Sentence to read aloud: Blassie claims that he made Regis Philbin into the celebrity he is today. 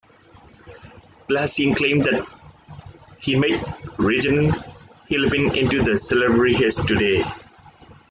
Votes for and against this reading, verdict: 0, 2, rejected